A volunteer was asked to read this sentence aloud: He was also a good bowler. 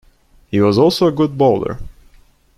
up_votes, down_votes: 2, 0